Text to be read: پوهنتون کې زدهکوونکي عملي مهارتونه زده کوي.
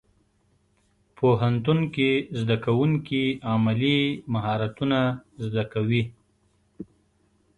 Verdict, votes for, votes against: accepted, 2, 0